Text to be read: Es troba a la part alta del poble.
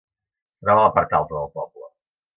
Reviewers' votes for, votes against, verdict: 1, 2, rejected